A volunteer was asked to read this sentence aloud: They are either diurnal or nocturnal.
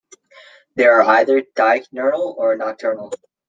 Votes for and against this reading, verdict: 1, 2, rejected